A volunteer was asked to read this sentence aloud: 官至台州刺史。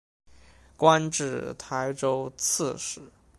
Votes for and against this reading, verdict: 2, 0, accepted